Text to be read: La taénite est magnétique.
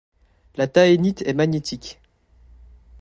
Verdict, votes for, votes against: rejected, 0, 2